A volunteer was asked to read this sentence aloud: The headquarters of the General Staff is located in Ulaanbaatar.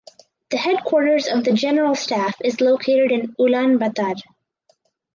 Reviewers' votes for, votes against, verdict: 4, 0, accepted